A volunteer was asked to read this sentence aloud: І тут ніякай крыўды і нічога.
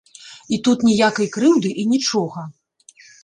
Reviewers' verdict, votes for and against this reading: accepted, 2, 0